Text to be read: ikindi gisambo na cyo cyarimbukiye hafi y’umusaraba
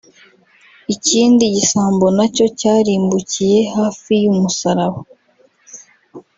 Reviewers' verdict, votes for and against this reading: rejected, 0, 2